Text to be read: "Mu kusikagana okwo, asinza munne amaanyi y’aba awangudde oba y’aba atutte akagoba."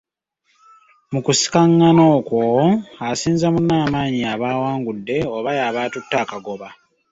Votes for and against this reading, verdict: 2, 1, accepted